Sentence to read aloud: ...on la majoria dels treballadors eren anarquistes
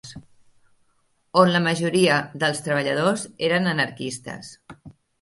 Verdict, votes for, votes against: accepted, 2, 0